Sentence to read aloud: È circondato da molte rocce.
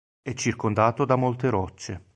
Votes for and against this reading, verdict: 2, 0, accepted